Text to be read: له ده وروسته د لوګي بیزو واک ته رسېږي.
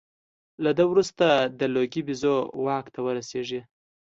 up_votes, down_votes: 2, 0